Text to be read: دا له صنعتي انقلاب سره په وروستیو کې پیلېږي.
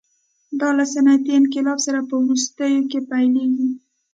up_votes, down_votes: 2, 0